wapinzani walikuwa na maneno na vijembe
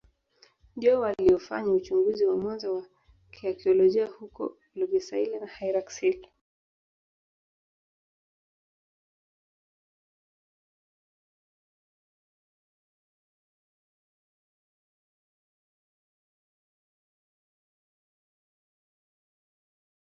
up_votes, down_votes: 0, 5